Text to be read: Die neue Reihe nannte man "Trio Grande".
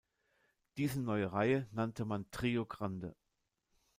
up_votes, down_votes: 0, 2